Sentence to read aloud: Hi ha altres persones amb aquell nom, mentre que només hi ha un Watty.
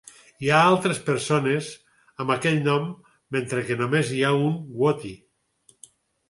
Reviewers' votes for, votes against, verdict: 4, 0, accepted